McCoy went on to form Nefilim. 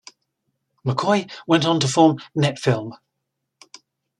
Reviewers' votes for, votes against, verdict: 1, 2, rejected